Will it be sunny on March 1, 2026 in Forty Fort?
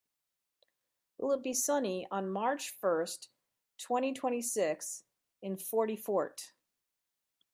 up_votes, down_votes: 0, 2